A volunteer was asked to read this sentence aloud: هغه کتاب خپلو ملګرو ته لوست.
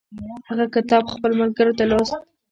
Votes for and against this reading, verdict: 1, 2, rejected